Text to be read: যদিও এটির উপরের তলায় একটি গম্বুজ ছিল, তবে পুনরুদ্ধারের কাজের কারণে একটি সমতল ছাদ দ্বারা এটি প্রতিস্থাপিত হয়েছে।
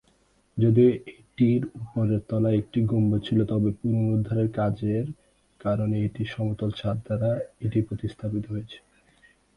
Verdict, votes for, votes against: rejected, 2, 4